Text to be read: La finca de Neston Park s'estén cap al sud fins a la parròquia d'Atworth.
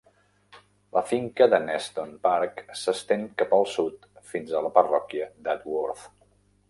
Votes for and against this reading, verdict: 3, 0, accepted